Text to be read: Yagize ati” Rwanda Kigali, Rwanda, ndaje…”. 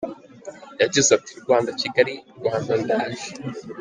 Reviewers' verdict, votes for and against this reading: accepted, 2, 0